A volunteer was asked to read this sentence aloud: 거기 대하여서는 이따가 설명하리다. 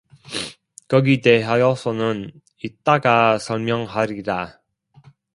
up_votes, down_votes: 0, 2